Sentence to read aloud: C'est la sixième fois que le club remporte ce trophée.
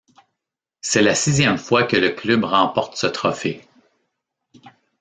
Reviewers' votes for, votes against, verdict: 1, 2, rejected